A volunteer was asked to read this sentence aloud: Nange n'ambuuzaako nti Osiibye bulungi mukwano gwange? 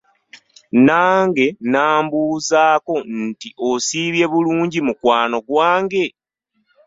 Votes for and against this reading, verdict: 1, 2, rejected